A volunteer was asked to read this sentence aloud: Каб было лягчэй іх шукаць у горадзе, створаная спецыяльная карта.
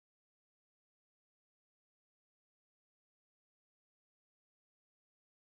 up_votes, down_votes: 0, 2